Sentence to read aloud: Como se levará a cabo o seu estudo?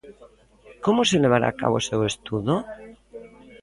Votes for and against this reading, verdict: 0, 2, rejected